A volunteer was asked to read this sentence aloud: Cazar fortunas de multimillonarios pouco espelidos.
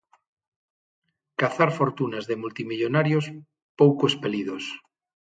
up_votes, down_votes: 6, 0